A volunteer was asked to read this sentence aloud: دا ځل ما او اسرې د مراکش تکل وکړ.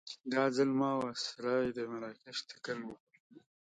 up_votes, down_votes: 3, 0